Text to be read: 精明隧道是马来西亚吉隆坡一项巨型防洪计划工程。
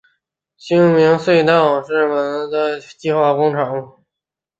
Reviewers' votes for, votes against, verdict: 0, 4, rejected